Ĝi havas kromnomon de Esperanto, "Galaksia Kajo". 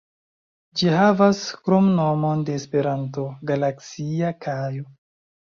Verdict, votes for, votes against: rejected, 1, 2